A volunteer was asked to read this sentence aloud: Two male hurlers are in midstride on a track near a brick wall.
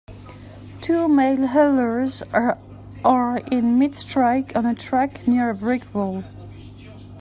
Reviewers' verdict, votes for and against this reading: rejected, 0, 3